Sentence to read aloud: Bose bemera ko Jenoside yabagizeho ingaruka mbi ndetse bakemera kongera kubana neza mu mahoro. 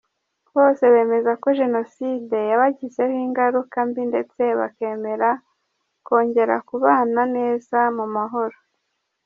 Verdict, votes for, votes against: rejected, 0, 2